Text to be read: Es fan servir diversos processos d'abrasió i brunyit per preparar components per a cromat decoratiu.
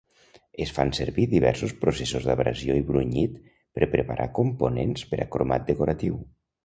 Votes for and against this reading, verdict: 2, 0, accepted